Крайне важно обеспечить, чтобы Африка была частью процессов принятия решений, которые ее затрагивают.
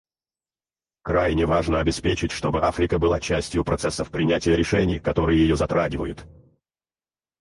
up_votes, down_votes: 2, 4